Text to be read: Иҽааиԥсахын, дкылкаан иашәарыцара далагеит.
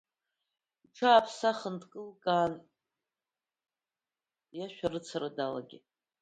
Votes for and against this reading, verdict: 2, 1, accepted